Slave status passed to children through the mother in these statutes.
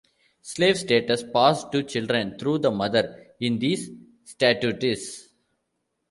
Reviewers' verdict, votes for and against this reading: rejected, 0, 2